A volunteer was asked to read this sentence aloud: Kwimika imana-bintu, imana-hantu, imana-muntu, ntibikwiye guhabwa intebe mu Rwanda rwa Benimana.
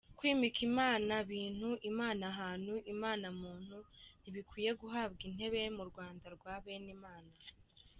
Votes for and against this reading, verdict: 2, 1, accepted